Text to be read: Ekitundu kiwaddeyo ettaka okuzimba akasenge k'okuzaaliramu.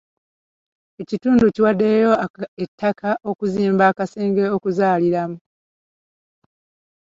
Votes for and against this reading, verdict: 2, 1, accepted